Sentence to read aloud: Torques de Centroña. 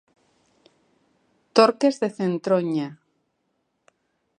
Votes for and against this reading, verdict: 3, 0, accepted